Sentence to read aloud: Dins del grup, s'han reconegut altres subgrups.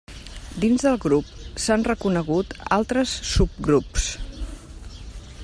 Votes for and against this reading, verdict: 3, 0, accepted